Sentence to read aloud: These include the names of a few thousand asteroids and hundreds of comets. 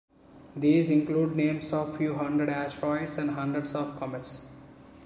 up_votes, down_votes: 1, 2